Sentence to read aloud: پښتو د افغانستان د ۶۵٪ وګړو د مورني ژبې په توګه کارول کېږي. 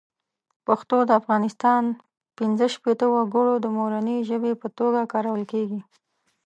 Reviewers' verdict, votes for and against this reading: rejected, 0, 2